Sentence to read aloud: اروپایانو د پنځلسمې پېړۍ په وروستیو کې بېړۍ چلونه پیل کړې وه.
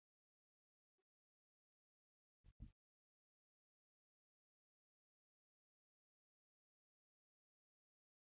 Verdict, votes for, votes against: rejected, 0, 2